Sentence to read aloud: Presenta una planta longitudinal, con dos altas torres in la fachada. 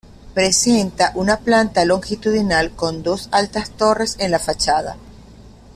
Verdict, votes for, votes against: rejected, 1, 2